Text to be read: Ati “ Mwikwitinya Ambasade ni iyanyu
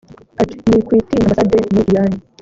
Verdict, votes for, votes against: rejected, 0, 2